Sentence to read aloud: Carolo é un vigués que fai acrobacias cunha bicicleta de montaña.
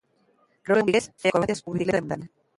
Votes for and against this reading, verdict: 0, 2, rejected